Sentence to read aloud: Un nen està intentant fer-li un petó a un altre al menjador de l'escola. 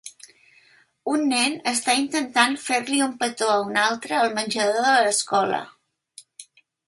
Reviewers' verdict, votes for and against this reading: accepted, 3, 0